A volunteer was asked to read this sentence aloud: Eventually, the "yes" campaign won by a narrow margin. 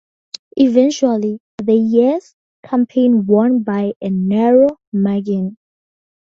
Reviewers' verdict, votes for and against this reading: accepted, 2, 0